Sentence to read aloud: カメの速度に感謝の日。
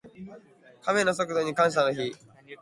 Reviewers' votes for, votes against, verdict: 6, 0, accepted